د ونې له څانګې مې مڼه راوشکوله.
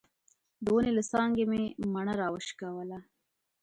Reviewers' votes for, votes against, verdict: 2, 1, accepted